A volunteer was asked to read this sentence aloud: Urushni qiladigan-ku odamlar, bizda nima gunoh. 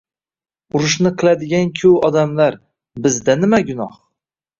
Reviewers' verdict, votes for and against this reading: accepted, 2, 0